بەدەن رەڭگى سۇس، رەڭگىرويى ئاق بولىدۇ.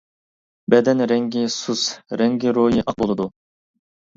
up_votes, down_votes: 2, 0